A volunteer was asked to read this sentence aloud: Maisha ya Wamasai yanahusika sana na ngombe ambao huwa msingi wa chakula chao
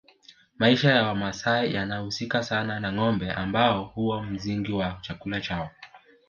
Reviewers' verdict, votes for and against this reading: accepted, 2, 0